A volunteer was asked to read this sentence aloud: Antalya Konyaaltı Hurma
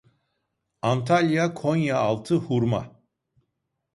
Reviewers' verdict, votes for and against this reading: accepted, 2, 0